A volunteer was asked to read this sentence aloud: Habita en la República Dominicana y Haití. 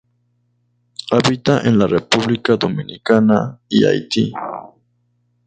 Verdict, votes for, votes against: rejected, 2, 2